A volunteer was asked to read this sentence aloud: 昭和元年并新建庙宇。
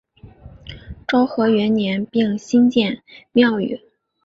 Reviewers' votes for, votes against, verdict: 3, 0, accepted